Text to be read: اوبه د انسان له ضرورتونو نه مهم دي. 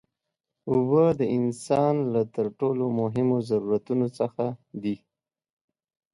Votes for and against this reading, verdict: 0, 2, rejected